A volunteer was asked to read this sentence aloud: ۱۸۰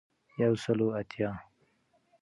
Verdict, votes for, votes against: rejected, 0, 2